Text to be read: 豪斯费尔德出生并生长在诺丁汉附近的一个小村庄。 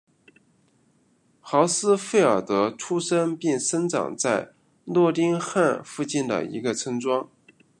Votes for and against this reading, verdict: 0, 2, rejected